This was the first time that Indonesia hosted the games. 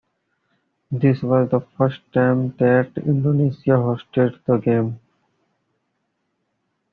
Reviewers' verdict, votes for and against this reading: accepted, 2, 1